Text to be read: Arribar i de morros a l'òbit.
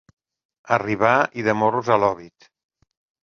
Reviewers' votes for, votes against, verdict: 2, 0, accepted